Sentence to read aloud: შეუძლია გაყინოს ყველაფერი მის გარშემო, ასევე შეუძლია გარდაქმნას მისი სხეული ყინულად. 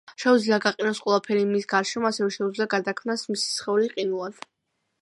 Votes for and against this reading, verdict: 1, 2, rejected